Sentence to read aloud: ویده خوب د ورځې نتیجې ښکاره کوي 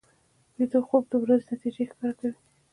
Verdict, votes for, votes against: rejected, 1, 2